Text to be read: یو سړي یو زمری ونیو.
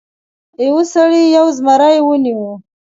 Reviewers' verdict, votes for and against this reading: accepted, 2, 0